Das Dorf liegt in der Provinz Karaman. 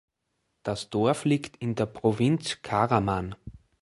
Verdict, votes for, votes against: accepted, 2, 0